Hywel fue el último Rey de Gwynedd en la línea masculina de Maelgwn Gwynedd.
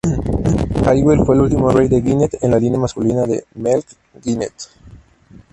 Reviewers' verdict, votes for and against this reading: rejected, 0, 4